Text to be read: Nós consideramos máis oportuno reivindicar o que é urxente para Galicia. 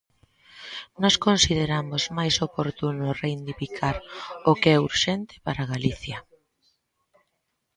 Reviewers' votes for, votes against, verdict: 3, 5, rejected